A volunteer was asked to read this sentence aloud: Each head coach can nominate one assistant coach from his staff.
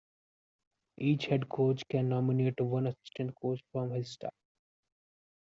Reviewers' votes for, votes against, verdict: 1, 2, rejected